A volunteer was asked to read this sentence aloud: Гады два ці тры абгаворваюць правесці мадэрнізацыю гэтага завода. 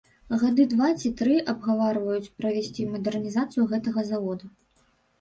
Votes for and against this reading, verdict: 0, 2, rejected